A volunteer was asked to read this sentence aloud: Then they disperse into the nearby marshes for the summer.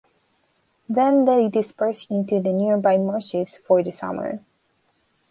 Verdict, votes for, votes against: accepted, 2, 1